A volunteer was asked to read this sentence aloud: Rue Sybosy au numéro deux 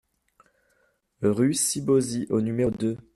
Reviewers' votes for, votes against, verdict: 0, 2, rejected